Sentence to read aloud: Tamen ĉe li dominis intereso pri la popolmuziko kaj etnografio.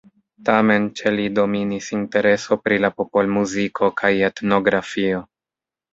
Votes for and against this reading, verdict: 1, 2, rejected